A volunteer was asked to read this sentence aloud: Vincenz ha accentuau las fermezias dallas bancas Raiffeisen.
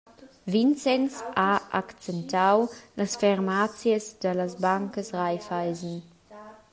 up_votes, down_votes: 0, 2